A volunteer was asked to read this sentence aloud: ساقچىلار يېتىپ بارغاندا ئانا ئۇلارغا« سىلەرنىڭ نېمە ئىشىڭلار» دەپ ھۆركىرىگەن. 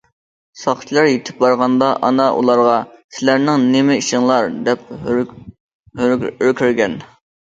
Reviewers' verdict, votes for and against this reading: rejected, 0, 2